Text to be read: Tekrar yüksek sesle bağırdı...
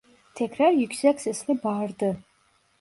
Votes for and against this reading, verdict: 2, 0, accepted